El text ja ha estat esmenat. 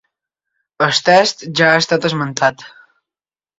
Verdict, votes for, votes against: rejected, 0, 2